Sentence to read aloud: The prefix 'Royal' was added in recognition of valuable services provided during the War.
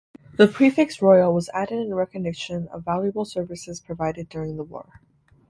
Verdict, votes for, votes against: rejected, 0, 2